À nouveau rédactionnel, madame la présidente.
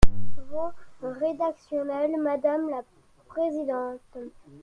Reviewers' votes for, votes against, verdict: 0, 2, rejected